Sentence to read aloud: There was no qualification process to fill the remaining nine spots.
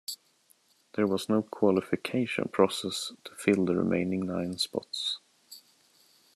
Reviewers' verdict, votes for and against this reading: accepted, 2, 0